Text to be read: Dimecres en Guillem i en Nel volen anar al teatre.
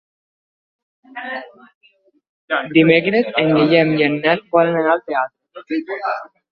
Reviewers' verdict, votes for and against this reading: rejected, 1, 2